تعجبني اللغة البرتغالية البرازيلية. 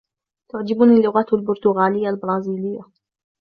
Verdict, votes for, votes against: accepted, 2, 0